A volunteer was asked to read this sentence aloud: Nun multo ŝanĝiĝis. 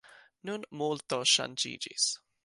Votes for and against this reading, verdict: 2, 0, accepted